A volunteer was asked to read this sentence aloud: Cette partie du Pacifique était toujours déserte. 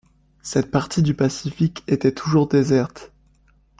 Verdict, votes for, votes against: accepted, 2, 0